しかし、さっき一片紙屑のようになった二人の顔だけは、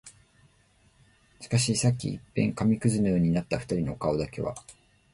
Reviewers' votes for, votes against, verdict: 2, 0, accepted